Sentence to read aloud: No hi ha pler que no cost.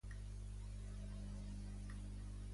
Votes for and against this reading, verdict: 0, 2, rejected